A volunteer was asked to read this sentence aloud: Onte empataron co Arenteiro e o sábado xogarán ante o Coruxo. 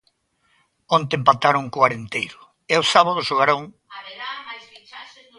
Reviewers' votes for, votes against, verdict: 0, 3, rejected